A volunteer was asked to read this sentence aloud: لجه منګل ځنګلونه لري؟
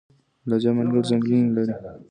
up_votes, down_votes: 2, 1